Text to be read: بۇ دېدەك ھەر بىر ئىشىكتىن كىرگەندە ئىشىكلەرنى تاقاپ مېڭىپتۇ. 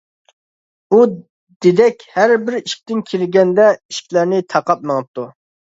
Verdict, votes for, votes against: rejected, 1, 2